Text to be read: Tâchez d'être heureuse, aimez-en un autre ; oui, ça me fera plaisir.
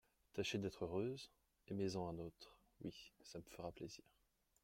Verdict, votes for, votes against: accepted, 2, 0